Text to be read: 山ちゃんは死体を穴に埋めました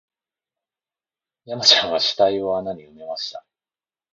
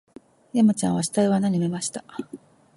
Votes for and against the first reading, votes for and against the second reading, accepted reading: 1, 3, 2, 0, second